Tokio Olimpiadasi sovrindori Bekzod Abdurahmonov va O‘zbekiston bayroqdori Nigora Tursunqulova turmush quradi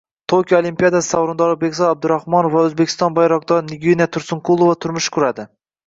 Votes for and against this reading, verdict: 1, 2, rejected